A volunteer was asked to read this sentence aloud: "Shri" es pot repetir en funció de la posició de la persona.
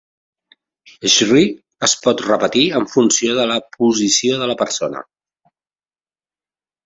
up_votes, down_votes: 2, 0